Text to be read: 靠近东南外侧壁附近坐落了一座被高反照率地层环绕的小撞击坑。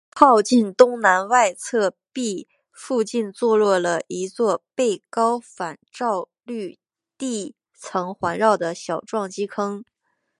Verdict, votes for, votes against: accepted, 2, 0